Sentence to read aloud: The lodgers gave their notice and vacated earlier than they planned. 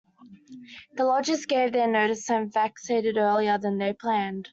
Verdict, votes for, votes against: rejected, 0, 2